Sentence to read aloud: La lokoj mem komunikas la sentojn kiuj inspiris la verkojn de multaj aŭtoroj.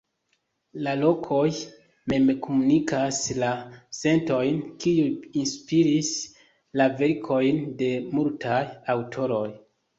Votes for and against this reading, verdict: 2, 0, accepted